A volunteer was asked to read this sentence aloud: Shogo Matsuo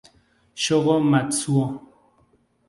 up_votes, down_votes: 0, 2